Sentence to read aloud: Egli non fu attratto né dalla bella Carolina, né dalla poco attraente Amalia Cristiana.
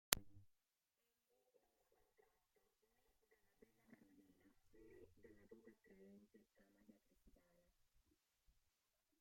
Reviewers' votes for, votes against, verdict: 0, 2, rejected